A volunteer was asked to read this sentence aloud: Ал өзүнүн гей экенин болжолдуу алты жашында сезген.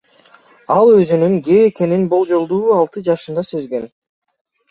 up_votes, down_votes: 2, 0